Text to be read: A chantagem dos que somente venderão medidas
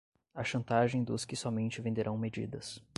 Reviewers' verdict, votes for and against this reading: rejected, 5, 10